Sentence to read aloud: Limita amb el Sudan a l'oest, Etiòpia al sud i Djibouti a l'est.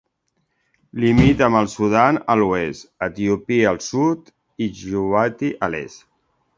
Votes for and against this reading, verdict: 2, 1, accepted